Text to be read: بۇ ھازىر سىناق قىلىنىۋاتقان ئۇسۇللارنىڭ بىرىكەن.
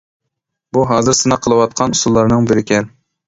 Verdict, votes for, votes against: rejected, 1, 2